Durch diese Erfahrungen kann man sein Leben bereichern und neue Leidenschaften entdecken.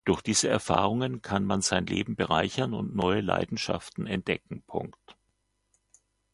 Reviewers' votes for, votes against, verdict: 1, 2, rejected